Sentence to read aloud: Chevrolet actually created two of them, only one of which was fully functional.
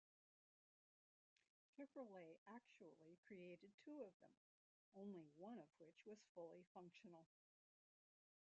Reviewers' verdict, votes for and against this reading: rejected, 1, 2